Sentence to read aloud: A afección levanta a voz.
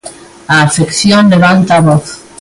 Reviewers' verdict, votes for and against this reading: accepted, 2, 0